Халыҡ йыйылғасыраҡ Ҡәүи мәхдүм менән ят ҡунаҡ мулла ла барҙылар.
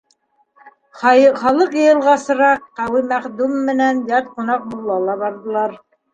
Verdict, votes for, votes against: rejected, 1, 2